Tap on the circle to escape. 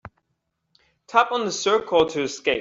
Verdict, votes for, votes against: accepted, 2, 0